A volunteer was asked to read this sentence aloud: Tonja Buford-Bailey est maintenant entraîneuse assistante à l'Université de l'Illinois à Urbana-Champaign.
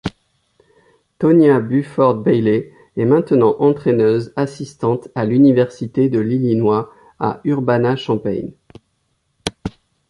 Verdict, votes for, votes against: rejected, 0, 2